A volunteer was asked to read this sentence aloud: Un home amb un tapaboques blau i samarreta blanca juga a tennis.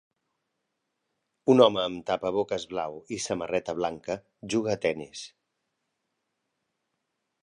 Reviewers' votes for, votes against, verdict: 0, 3, rejected